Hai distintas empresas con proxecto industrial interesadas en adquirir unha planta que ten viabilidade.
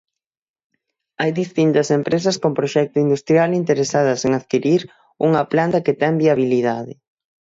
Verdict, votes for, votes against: accepted, 6, 0